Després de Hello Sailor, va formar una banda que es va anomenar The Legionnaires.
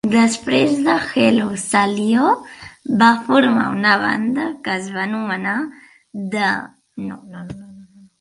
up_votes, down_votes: 0, 2